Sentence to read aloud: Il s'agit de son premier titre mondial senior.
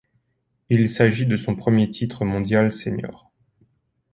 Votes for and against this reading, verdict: 4, 0, accepted